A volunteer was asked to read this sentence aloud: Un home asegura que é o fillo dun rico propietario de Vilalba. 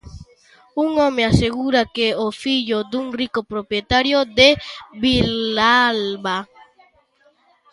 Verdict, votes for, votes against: rejected, 0, 2